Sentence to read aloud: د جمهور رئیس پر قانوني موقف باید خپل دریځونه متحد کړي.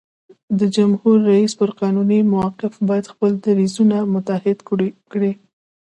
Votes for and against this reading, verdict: 0, 2, rejected